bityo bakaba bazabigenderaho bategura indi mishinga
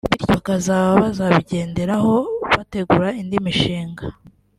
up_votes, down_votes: 2, 0